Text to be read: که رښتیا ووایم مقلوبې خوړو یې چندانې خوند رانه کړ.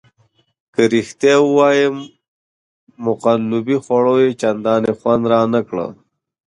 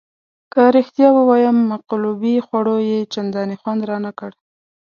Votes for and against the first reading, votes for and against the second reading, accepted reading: 1, 2, 2, 0, second